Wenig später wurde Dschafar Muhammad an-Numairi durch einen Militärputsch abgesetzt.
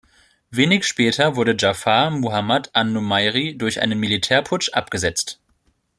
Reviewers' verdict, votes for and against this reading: accepted, 2, 0